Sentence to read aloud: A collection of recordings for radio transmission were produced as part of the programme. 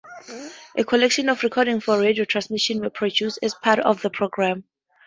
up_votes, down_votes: 4, 0